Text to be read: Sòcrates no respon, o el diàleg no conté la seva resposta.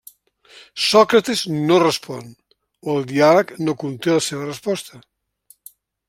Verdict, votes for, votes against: rejected, 0, 2